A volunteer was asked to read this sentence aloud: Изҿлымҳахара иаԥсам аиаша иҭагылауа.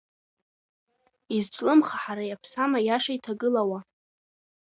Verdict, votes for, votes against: accepted, 2, 1